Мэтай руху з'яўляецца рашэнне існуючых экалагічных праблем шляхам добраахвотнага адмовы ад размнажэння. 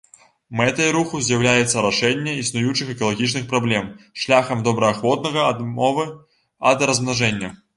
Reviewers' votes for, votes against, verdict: 1, 2, rejected